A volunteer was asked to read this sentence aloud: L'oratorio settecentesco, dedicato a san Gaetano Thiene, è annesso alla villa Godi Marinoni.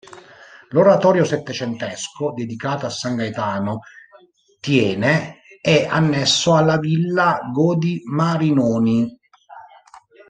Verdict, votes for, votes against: rejected, 0, 2